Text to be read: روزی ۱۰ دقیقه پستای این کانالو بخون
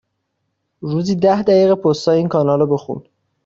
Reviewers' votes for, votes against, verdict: 0, 2, rejected